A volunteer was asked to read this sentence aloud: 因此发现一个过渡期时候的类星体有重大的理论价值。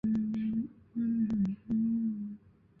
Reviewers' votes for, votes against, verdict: 0, 3, rejected